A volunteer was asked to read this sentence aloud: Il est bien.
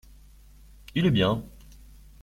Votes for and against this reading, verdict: 2, 0, accepted